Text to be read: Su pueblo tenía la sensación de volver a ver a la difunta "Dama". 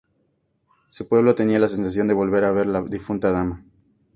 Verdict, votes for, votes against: rejected, 2, 4